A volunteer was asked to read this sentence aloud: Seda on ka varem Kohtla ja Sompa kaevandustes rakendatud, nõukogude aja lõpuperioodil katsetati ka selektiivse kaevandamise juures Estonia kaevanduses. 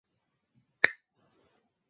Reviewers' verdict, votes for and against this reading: rejected, 0, 2